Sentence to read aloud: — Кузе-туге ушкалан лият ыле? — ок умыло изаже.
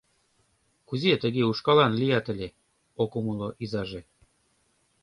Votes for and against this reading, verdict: 2, 0, accepted